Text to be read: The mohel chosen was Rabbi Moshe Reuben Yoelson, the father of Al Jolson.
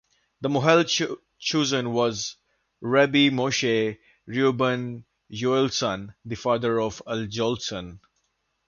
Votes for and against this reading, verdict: 1, 2, rejected